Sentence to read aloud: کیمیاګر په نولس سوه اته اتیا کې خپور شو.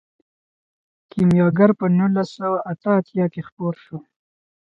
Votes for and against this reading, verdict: 0, 2, rejected